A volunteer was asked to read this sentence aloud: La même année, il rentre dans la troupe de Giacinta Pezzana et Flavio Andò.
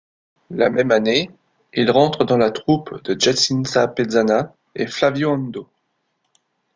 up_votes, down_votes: 0, 2